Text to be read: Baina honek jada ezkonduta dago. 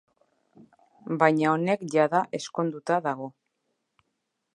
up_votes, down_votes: 2, 0